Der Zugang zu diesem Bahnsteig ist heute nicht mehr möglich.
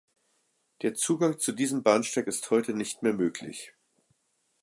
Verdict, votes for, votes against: accepted, 2, 0